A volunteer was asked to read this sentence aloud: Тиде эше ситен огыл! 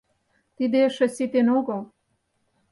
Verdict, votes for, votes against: accepted, 4, 0